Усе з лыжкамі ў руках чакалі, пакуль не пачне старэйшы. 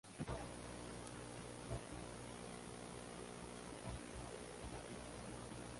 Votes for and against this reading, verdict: 0, 2, rejected